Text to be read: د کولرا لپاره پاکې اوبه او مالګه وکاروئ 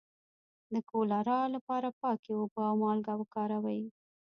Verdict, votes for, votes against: rejected, 1, 2